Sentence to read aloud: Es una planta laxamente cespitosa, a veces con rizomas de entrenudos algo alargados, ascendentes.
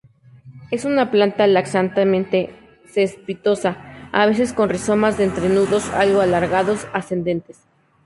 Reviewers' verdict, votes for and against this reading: accepted, 2, 0